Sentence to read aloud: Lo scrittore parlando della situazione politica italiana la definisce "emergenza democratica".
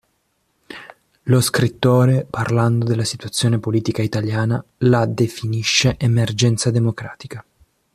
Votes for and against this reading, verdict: 2, 0, accepted